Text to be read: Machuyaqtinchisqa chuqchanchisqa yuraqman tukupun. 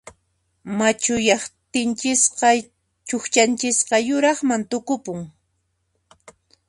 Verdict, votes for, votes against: accepted, 2, 0